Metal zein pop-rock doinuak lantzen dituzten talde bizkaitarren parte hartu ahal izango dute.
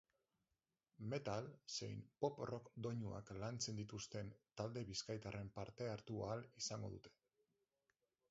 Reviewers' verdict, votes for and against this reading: accepted, 2, 0